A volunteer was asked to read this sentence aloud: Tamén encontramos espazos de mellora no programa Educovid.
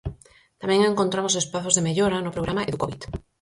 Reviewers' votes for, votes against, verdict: 0, 4, rejected